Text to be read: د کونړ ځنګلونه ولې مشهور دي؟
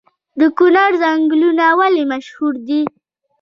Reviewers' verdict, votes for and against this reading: rejected, 1, 2